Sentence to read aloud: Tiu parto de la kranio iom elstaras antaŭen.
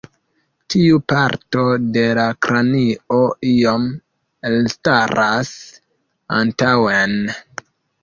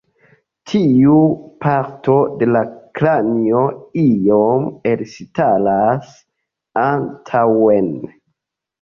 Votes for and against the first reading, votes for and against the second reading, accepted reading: 2, 0, 0, 2, first